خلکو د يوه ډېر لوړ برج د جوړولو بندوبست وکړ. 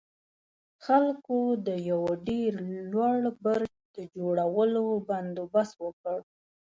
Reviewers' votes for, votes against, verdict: 2, 0, accepted